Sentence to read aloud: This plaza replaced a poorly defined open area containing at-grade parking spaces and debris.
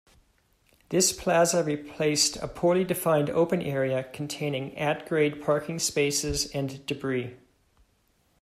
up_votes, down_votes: 2, 0